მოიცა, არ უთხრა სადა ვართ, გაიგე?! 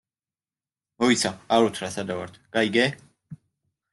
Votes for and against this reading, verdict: 1, 2, rejected